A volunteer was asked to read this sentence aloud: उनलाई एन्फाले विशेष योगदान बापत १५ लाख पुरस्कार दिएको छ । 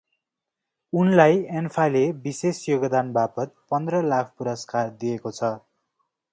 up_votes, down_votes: 0, 2